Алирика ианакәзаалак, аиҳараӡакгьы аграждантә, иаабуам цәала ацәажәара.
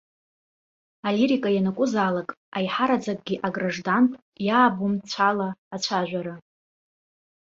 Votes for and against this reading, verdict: 1, 2, rejected